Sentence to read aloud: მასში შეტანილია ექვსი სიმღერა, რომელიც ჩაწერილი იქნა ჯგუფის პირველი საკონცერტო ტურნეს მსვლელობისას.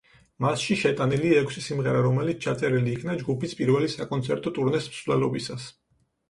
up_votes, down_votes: 4, 0